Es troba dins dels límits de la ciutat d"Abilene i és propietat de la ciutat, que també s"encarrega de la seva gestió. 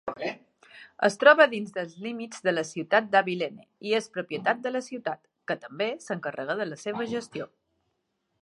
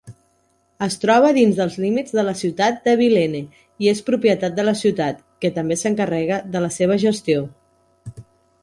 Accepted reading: second